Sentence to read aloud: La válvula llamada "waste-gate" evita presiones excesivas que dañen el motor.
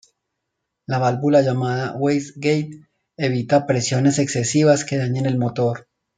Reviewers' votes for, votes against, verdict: 2, 0, accepted